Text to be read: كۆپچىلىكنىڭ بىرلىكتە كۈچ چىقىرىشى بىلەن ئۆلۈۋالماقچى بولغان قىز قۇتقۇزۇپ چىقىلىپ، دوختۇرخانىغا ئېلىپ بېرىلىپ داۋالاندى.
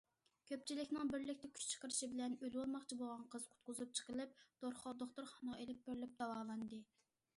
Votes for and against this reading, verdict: 0, 2, rejected